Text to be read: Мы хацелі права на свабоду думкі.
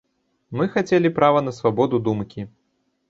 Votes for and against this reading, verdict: 2, 0, accepted